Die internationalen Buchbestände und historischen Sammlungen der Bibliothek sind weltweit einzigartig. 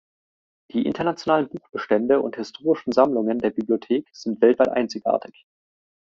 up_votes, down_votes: 2, 0